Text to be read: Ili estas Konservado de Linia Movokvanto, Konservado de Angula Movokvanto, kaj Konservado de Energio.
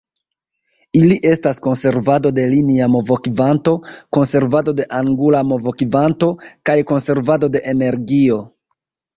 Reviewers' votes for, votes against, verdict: 1, 2, rejected